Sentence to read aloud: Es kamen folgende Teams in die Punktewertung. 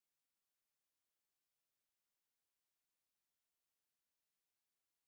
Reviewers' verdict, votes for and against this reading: rejected, 0, 3